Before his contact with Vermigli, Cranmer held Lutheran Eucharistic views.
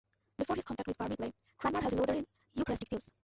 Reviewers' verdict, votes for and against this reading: rejected, 0, 2